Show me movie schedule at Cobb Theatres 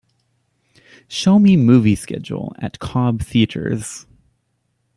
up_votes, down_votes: 3, 0